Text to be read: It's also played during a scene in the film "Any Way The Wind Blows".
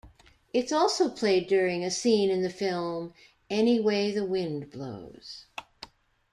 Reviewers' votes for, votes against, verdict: 2, 0, accepted